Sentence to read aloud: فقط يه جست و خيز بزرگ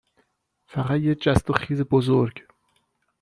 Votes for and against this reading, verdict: 2, 0, accepted